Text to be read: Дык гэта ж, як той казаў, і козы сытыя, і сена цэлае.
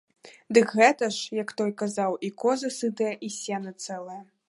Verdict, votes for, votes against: accepted, 2, 0